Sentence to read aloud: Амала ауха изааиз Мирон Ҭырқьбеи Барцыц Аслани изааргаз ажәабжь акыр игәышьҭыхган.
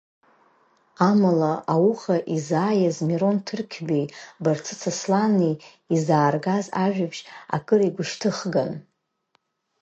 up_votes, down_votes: 3, 0